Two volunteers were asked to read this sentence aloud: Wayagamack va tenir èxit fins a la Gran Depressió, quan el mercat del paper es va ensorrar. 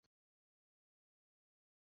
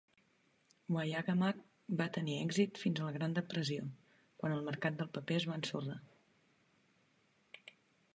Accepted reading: second